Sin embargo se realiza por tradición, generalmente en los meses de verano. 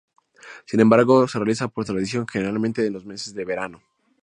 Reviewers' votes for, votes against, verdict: 0, 2, rejected